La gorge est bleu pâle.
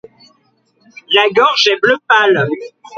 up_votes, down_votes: 2, 0